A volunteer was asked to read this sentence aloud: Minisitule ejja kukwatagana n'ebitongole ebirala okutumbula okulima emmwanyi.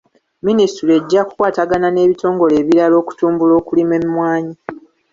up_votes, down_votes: 1, 2